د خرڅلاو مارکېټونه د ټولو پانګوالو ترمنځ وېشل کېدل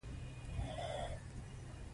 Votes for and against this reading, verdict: 2, 0, accepted